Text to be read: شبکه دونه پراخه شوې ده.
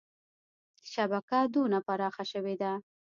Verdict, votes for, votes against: rejected, 1, 2